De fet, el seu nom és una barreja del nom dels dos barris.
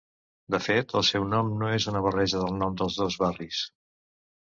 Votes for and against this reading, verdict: 0, 2, rejected